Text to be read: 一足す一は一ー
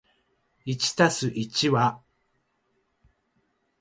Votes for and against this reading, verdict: 0, 2, rejected